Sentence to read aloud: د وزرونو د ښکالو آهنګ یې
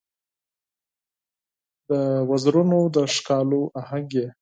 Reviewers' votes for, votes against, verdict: 4, 0, accepted